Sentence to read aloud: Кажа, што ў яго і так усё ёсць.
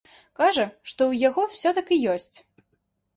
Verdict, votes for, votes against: rejected, 1, 2